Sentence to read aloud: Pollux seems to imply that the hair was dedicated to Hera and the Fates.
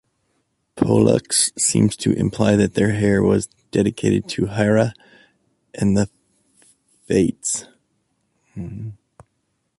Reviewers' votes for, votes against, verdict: 0, 2, rejected